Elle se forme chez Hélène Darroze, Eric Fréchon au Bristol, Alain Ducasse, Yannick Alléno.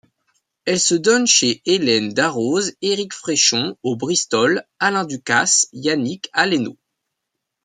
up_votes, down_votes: 0, 2